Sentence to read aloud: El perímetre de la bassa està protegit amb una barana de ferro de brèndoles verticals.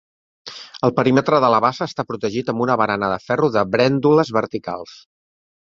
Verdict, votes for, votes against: accepted, 3, 0